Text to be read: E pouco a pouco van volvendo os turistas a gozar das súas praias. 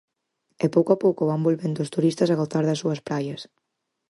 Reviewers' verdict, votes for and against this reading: accepted, 4, 0